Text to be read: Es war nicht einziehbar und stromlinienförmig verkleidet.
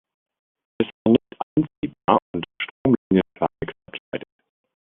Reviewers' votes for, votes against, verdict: 0, 3, rejected